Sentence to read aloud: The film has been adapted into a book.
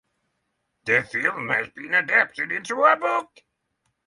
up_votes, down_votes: 3, 3